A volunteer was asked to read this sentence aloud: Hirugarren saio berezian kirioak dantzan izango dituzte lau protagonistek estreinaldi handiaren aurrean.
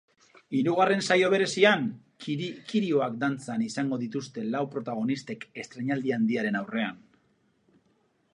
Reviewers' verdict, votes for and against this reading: rejected, 0, 2